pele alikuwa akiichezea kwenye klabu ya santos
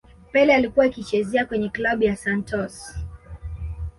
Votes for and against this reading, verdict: 2, 1, accepted